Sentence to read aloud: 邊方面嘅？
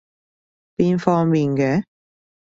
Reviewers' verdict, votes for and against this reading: accepted, 2, 0